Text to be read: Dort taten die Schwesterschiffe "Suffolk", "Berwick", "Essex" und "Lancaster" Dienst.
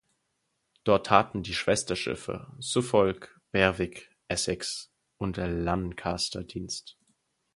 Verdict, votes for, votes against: rejected, 2, 4